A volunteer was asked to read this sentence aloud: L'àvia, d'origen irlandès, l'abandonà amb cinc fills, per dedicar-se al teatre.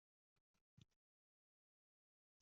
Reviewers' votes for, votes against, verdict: 0, 2, rejected